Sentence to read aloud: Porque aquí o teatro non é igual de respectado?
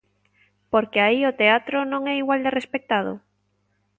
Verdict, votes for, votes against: rejected, 0, 2